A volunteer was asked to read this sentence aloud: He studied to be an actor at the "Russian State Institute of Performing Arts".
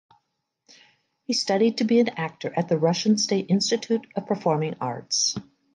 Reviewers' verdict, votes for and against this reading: accepted, 2, 0